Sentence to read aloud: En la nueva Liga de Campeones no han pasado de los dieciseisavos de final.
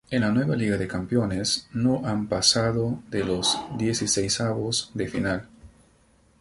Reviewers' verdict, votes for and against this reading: rejected, 2, 2